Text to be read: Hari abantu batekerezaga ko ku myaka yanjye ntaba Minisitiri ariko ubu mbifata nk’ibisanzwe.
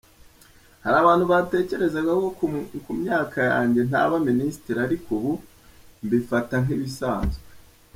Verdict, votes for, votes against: rejected, 1, 3